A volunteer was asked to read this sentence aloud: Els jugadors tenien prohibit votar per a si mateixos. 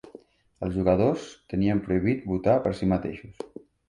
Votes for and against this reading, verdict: 2, 0, accepted